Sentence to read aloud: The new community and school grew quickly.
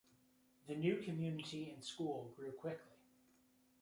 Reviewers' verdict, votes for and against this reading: rejected, 0, 2